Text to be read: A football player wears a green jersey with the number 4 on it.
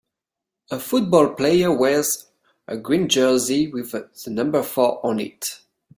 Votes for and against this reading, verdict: 0, 2, rejected